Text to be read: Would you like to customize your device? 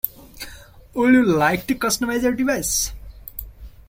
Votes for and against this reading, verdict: 2, 1, accepted